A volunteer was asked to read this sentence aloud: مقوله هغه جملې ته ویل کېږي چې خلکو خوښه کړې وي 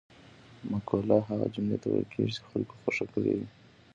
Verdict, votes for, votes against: accepted, 2, 1